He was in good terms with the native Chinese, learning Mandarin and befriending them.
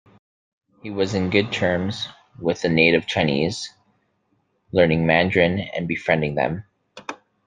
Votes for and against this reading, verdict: 2, 1, accepted